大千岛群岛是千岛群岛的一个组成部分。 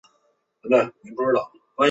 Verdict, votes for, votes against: rejected, 0, 5